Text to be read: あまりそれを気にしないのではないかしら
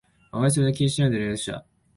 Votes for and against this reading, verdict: 2, 3, rejected